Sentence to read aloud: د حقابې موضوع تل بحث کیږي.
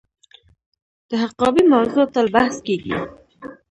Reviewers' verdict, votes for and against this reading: rejected, 1, 2